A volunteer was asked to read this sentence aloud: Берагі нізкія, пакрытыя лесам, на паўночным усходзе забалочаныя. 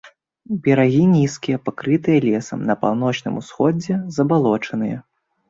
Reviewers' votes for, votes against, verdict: 2, 0, accepted